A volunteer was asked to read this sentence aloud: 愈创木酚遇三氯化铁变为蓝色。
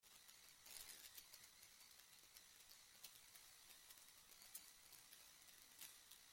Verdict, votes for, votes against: rejected, 0, 2